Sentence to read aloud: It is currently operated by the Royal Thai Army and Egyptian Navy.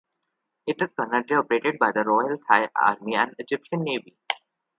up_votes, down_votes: 1, 2